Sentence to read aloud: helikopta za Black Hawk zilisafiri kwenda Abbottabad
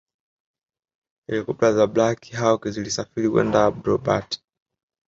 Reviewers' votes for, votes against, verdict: 3, 0, accepted